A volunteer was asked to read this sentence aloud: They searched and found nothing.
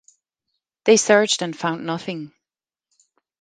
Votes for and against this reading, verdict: 2, 0, accepted